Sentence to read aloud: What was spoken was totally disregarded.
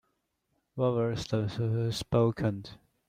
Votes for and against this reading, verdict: 0, 2, rejected